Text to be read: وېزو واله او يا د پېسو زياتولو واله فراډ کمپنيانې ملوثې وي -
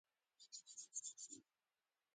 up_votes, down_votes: 0, 2